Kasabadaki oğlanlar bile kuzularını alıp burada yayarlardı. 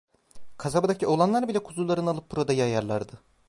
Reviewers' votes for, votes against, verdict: 1, 2, rejected